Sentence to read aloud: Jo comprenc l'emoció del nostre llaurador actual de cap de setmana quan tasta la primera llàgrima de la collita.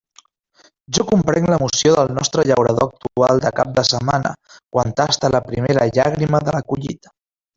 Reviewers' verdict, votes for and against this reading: rejected, 1, 2